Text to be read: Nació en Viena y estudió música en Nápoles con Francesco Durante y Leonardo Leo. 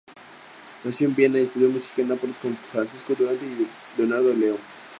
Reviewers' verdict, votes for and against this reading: accepted, 2, 0